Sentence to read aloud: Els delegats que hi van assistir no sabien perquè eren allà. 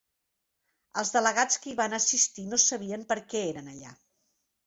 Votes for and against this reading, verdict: 2, 0, accepted